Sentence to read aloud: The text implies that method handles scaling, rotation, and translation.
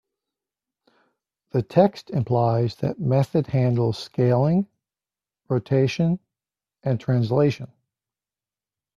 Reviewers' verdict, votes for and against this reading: accepted, 2, 0